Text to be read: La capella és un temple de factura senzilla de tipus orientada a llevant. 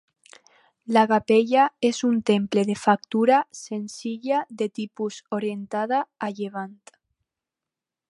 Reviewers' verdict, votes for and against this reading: rejected, 2, 2